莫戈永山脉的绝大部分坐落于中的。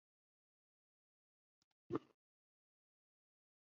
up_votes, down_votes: 0, 2